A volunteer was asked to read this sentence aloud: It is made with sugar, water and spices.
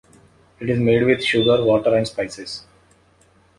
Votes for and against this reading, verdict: 2, 0, accepted